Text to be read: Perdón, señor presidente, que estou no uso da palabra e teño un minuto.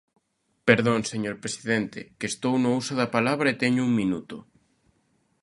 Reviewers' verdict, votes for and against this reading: accepted, 2, 0